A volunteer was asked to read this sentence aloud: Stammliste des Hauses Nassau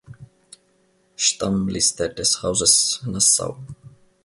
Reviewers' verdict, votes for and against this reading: accepted, 2, 0